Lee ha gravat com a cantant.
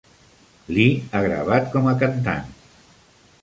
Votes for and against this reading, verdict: 2, 0, accepted